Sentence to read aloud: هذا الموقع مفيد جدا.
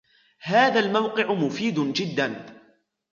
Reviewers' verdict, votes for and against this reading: rejected, 0, 2